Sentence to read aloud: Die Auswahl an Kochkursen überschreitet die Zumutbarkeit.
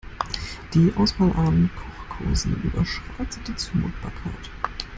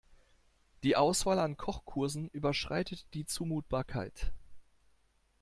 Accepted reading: second